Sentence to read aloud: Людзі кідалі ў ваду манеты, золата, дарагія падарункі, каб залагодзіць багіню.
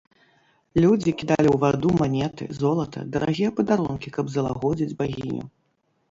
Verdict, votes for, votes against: rejected, 1, 2